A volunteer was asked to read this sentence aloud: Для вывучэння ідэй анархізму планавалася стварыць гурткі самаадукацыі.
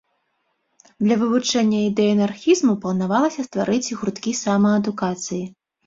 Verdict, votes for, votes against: accepted, 2, 0